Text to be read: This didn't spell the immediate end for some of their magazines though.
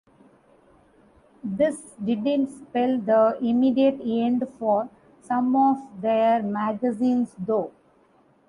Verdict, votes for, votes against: rejected, 0, 2